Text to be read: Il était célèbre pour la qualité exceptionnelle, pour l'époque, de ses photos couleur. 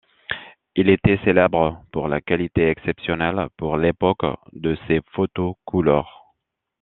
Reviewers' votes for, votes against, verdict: 2, 0, accepted